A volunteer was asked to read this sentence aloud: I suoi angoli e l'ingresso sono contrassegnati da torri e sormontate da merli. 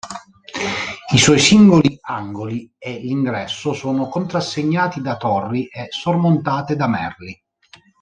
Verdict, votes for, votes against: rejected, 0, 2